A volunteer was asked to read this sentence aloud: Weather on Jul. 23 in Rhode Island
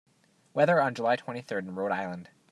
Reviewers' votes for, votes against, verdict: 0, 2, rejected